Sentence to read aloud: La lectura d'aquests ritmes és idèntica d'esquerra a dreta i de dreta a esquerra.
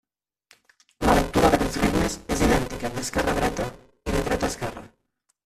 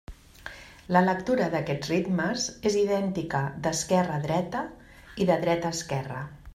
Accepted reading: second